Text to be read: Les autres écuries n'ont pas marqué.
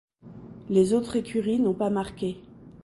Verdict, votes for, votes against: accepted, 2, 0